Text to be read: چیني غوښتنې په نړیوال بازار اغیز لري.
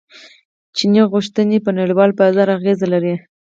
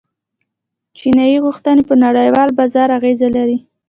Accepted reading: second